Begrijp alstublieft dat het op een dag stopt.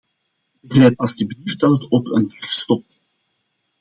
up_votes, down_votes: 0, 2